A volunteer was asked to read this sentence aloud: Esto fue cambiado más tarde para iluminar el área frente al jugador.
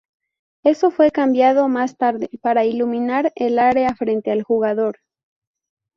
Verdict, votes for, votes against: rejected, 0, 2